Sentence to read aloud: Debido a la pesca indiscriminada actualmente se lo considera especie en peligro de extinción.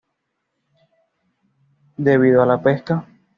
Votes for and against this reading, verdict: 1, 2, rejected